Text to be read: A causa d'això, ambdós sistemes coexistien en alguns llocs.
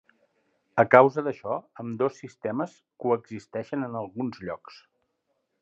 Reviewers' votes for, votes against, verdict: 1, 2, rejected